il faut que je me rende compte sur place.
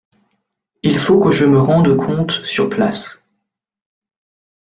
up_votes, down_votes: 2, 0